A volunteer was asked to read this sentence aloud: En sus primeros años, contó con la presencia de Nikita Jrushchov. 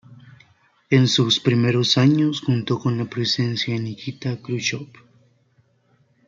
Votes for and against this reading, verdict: 0, 2, rejected